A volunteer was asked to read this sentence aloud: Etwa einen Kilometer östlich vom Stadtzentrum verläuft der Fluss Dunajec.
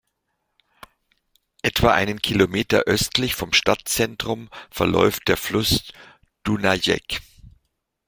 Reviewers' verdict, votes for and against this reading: accepted, 2, 0